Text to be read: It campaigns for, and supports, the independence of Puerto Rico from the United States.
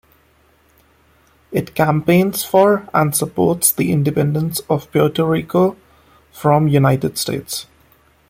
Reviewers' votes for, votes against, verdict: 0, 2, rejected